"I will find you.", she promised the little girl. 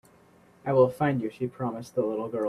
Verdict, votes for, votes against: accepted, 3, 0